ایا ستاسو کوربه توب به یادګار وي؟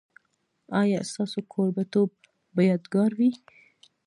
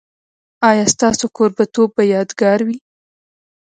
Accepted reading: first